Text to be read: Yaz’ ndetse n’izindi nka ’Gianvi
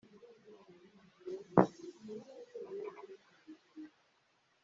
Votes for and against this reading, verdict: 0, 3, rejected